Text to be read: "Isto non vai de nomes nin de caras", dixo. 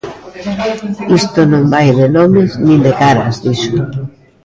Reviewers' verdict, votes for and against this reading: accepted, 2, 0